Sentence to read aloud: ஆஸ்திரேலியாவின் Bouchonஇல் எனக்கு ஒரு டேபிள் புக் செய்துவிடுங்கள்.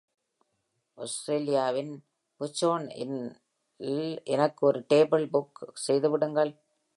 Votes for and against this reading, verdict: 1, 2, rejected